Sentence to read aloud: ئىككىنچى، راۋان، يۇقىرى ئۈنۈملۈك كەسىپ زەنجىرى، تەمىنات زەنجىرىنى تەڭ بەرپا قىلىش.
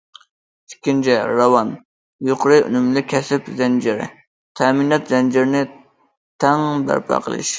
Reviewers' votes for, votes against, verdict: 2, 0, accepted